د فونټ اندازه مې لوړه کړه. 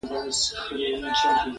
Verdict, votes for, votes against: rejected, 1, 2